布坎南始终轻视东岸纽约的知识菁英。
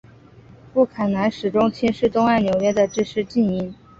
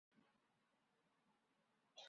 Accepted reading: first